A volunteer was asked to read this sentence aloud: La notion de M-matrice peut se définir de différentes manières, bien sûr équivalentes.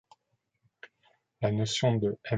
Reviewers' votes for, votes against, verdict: 0, 2, rejected